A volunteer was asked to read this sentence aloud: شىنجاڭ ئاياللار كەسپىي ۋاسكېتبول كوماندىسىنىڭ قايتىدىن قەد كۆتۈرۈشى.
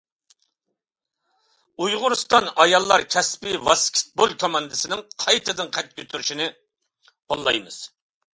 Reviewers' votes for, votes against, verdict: 0, 2, rejected